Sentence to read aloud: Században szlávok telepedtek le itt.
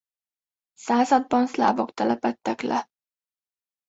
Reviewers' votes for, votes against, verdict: 1, 2, rejected